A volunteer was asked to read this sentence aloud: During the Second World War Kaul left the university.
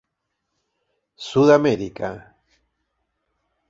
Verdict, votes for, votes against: rejected, 0, 2